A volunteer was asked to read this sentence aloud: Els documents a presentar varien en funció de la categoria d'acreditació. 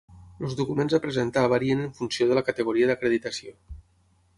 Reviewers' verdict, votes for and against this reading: rejected, 3, 6